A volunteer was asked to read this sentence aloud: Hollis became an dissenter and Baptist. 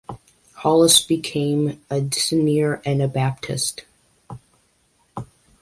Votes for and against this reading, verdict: 2, 0, accepted